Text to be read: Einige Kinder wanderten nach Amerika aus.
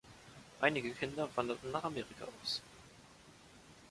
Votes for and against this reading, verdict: 2, 0, accepted